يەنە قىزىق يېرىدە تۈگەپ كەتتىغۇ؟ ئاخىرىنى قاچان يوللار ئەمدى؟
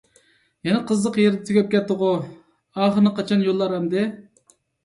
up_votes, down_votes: 2, 0